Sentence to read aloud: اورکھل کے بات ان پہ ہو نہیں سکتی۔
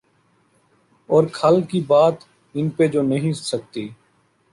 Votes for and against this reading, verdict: 1, 2, rejected